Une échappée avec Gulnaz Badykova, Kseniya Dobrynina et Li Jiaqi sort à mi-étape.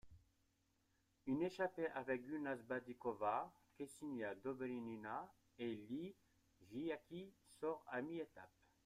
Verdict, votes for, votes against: accepted, 2, 0